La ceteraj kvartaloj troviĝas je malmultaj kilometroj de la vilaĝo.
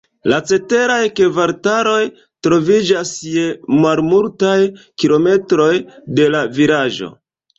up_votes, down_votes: 2, 1